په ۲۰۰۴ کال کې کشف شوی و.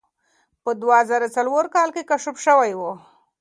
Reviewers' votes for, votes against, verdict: 0, 2, rejected